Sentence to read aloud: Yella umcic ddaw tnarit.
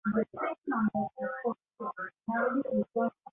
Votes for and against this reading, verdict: 0, 2, rejected